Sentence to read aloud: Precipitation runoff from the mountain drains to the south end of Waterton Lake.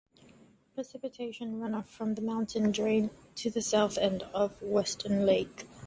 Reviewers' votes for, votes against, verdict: 0, 2, rejected